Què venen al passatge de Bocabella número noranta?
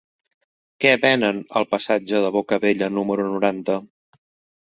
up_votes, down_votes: 2, 0